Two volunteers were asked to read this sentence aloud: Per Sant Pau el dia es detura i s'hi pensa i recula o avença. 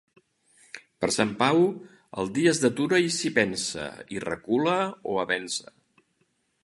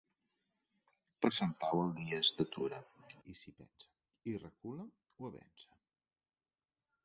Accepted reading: first